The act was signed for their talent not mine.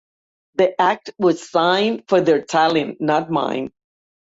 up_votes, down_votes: 2, 0